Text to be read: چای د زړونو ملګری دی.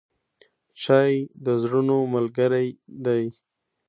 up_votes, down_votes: 2, 0